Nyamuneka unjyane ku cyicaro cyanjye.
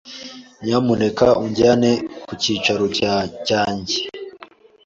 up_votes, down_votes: 0, 2